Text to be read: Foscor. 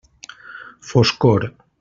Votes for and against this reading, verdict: 3, 0, accepted